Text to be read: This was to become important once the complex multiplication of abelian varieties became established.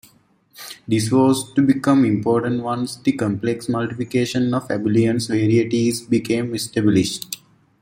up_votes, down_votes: 2, 0